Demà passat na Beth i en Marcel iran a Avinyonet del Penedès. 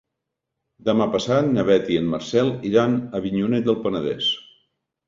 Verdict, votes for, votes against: rejected, 1, 2